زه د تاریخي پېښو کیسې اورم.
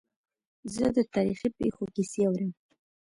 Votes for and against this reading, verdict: 2, 0, accepted